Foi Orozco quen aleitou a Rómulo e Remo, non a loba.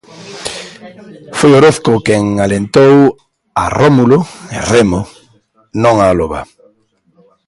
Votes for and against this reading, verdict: 0, 2, rejected